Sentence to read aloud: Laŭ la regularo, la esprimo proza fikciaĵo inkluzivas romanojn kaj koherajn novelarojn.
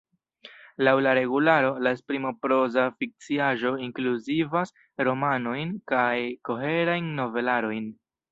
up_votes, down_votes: 0, 2